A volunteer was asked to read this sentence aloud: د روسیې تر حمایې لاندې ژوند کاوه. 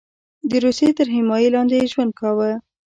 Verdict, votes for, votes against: rejected, 1, 2